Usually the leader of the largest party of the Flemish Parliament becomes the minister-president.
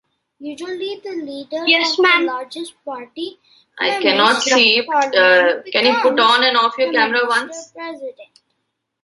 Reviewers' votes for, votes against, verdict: 0, 2, rejected